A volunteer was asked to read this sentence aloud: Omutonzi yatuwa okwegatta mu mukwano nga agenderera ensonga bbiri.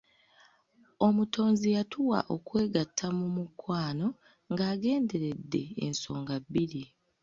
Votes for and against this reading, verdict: 0, 2, rejected